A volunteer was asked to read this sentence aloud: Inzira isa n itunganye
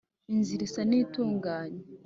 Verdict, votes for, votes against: accepted, 2, 0